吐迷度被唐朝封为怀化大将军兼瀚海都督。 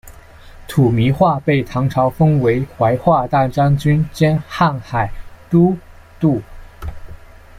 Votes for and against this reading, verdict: 0, 2, rejected